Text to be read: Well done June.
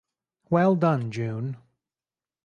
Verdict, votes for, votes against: accepted, 4, 0